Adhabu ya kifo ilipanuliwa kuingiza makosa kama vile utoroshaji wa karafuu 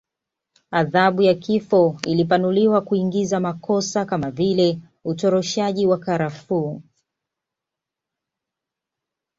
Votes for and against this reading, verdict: 2, 0, accepted